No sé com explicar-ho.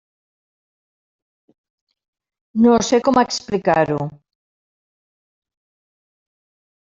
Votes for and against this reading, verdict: 0, 2, rejected